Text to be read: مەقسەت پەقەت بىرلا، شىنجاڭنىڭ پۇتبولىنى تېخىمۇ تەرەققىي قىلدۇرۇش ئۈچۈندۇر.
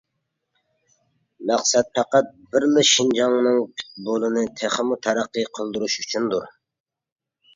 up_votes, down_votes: 1, 2